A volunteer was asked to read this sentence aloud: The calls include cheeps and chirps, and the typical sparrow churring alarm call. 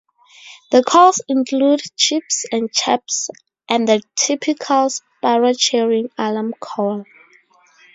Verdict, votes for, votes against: accepted, 4, 0